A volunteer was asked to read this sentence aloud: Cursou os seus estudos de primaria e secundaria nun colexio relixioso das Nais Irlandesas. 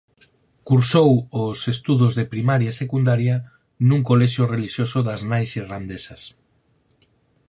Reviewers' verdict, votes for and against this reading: rejected, 0, 4